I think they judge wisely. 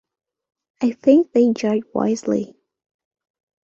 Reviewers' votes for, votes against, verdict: 2, 1, accepted